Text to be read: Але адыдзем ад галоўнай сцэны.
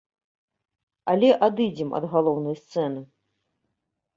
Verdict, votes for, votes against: accepted, 2, 0